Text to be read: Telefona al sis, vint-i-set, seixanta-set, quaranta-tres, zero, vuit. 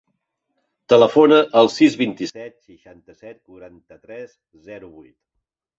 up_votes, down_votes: 5, 0